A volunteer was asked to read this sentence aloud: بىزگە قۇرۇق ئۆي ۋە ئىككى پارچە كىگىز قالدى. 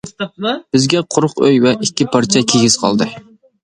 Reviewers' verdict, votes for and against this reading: accepted, 2, 0